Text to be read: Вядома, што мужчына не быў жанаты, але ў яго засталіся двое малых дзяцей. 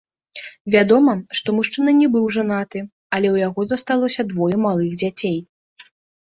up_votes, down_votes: 1, 2